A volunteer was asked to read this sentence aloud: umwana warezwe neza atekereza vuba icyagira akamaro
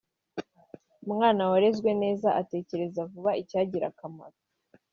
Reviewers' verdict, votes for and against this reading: accepted, 3, 0